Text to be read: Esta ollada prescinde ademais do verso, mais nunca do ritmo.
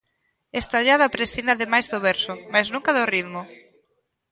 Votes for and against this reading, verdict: 2, 0, accepted